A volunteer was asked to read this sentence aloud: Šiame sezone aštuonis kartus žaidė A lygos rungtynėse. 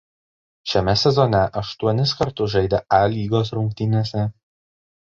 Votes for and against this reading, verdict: 2, 0, accepted